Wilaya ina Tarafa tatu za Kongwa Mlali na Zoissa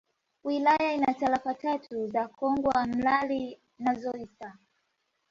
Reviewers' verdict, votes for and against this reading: rejected, 0, 2